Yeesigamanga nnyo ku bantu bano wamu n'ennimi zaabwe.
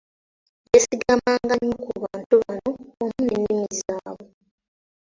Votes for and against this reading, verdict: 0, 2, rejected